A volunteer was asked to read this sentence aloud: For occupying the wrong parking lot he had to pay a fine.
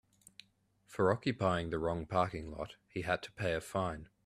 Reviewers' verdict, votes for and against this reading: accepted, 2, 0